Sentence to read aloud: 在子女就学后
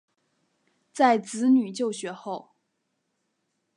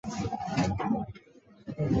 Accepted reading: first